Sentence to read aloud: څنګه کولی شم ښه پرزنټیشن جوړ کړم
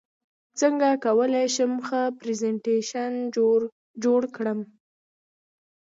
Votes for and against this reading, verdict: 2, 0, accepted